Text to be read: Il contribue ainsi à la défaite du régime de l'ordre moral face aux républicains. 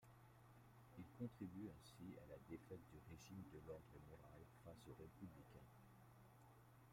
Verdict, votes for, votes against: accepted, 2, 0